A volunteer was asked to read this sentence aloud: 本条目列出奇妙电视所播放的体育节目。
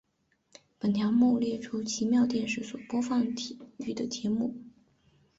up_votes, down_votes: 0, 2